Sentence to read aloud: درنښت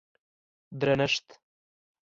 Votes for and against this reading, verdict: 2, 0, accepted